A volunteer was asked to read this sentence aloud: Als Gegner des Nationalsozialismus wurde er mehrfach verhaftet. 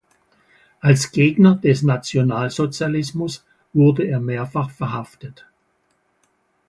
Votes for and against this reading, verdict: 4, 0, accepted